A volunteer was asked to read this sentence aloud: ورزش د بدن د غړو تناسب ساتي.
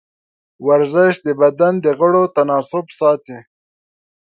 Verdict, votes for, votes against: accepted, 2, 0